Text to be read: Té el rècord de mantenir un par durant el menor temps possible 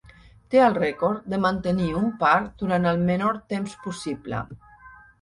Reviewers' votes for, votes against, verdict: 2, 0, accepted